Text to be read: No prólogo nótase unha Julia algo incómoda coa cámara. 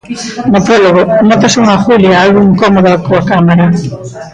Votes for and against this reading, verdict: 1, 2, rejected